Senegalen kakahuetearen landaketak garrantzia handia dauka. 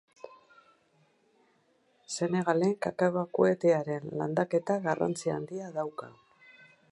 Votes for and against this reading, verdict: 2, 4, rejected